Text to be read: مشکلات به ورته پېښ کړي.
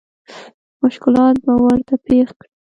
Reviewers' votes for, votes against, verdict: 0, 2, rejected